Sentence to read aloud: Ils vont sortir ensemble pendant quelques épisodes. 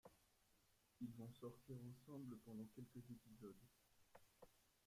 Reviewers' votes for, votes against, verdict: 0, 2, rejected